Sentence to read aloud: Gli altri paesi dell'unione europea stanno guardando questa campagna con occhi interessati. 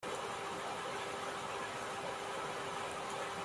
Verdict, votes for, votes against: rejected, 0, 2